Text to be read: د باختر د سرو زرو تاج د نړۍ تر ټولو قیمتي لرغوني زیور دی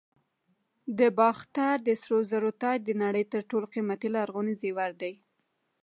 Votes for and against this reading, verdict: 2, 0, accepted